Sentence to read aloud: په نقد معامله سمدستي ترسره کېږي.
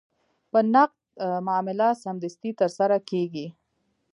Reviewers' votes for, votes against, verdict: 2, 0, accepted